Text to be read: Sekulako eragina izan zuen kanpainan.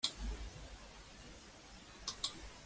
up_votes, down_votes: 0, 2